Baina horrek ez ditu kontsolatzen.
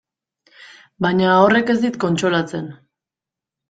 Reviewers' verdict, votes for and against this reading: rejected, 0, 2